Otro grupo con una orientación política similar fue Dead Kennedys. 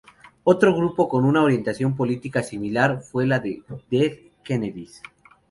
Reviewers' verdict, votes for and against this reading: rejected, 0, 2